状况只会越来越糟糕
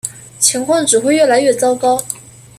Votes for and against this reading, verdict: 0, 2, rejected